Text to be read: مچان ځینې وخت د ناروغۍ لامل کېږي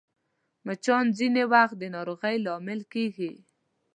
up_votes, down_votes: 2, 0